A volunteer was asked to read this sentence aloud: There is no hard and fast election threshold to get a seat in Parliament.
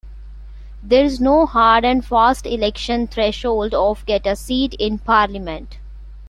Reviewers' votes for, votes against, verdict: 0, 2, rejected